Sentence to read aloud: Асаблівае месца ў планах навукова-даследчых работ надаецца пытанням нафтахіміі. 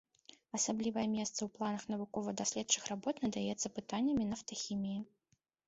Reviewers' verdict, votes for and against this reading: rejected, 0, 3